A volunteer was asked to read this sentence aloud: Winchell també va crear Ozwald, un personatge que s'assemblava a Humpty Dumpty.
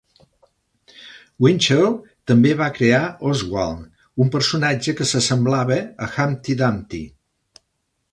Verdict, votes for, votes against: accepted, 2, 0